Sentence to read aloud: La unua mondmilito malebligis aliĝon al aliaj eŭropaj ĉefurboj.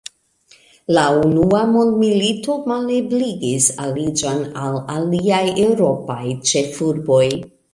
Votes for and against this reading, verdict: 2, 0, accepted